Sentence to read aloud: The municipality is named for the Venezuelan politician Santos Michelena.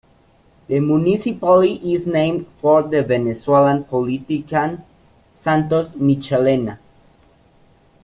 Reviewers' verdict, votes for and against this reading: rejected, 0, 2